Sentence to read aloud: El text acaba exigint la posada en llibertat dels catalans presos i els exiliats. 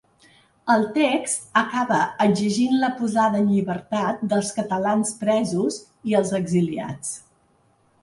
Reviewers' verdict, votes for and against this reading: accepted, 2, 0